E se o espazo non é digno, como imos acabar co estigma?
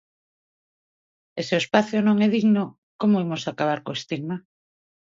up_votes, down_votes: 2, 0